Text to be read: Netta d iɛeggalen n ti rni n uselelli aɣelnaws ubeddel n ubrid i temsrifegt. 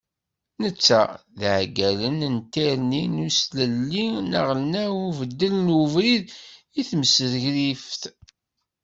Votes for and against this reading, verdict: 1, 2, rejected